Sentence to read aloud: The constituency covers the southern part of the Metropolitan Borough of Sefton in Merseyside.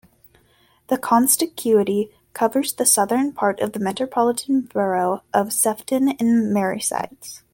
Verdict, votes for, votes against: rejected, 1, 2